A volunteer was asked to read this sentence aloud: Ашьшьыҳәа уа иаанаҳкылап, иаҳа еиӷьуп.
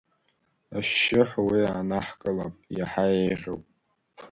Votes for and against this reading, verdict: 2, 1, accepted